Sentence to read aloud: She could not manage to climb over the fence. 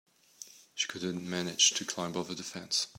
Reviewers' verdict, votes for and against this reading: rejected, 0, 2